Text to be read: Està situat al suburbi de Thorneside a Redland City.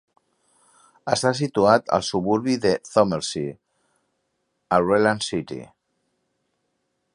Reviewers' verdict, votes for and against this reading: accepted, 2, 1